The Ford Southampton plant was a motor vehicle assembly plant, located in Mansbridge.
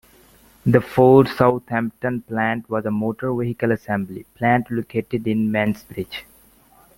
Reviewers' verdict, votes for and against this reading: accepted, 2, 0